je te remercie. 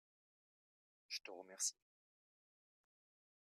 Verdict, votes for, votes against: rejected, 0, 2